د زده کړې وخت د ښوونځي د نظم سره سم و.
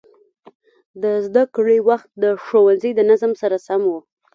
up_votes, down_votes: 2, 1